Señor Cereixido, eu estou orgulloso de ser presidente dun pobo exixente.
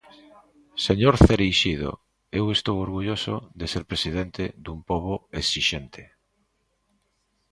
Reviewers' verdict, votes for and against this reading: accepted, 2, 0